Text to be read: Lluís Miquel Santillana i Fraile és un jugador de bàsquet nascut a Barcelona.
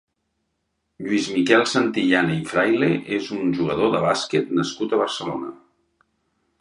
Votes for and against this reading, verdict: 3, 0, accepted